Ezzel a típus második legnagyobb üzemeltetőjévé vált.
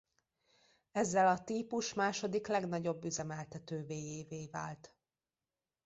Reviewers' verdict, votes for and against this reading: rejected, 0, 2